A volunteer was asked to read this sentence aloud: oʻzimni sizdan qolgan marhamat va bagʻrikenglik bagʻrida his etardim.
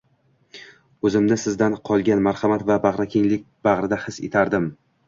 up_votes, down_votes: 2, 0